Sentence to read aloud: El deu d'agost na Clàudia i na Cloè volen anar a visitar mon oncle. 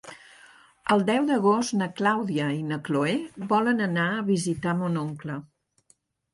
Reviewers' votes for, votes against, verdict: 2, 0, accepted